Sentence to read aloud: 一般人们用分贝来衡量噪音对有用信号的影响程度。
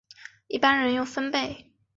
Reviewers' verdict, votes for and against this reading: rejected, 0, 2